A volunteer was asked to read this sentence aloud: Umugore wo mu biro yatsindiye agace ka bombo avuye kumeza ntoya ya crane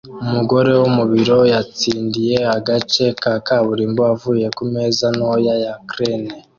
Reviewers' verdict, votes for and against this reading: rejected, 1, 2